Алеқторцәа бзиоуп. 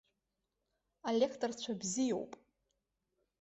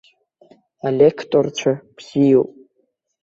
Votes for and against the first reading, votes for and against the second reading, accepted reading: 2, 0, 0, 2, first